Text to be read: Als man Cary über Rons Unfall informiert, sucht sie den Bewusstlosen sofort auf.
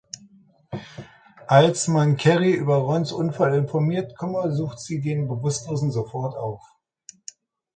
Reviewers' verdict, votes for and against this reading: rejected, 0, 2